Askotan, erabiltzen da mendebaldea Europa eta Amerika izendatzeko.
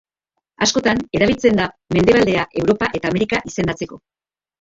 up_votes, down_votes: 1, 2